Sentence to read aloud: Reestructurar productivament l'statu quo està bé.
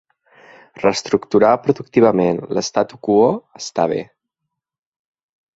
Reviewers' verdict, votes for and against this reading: accepted, 3, 0